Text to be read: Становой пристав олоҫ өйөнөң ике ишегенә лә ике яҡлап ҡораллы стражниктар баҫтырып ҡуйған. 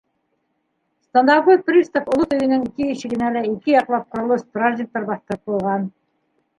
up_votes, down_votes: 0, 2